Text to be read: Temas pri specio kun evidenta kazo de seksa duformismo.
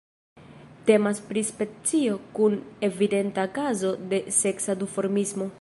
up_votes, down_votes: 2, 1